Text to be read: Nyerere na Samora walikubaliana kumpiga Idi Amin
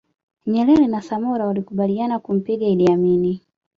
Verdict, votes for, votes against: accepted, 2, 0